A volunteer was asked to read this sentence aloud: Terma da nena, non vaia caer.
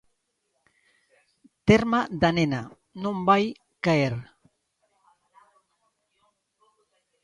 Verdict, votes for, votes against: rejected, 0, 2